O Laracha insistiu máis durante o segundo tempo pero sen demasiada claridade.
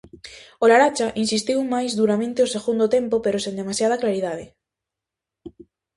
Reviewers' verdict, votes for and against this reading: rejected, 0, 2